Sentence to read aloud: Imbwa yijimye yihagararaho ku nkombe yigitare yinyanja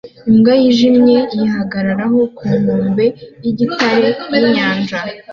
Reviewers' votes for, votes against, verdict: 2, 0, accepted